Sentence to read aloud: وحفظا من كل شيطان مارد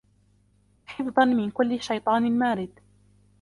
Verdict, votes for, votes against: accepted, 2, 0